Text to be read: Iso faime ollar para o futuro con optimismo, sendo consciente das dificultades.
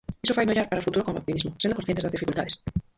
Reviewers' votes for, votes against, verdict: 0, 4, rejected